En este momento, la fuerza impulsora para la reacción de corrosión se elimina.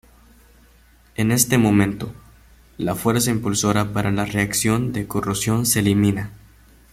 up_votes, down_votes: 1, 2